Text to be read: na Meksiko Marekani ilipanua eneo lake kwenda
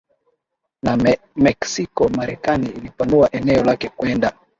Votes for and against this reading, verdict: 34, 4, accepted